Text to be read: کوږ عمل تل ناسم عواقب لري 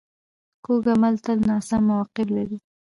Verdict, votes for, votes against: accepted, 2, 0